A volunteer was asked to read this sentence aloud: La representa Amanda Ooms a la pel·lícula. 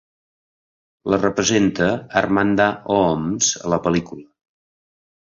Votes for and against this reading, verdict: 1, 2, rejected